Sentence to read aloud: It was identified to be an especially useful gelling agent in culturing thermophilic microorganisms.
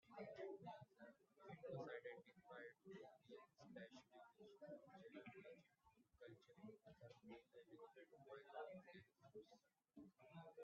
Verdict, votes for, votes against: rejected, 0, 2